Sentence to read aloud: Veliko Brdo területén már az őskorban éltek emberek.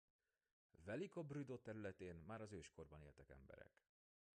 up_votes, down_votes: 2, 0